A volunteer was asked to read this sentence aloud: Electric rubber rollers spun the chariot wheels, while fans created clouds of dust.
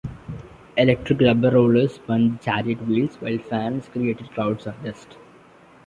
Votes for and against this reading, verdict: 1, 2, rejected